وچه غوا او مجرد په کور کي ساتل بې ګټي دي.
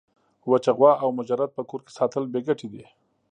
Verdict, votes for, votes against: accepted, 2, 0